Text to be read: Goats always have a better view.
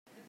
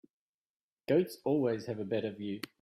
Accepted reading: second